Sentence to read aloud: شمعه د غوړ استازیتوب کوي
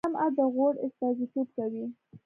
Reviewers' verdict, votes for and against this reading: accepted, 2, 0